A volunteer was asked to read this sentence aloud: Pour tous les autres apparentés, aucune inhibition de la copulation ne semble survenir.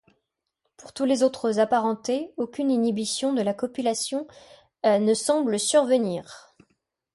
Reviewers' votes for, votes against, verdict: 2, 0, accepted